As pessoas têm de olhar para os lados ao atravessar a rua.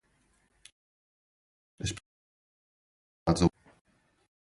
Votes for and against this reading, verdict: 0, 2, rejected